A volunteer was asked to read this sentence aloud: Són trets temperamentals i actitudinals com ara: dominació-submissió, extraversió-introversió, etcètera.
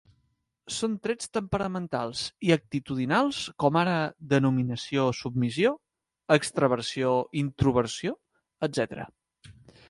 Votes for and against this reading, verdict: 1, 2, rejected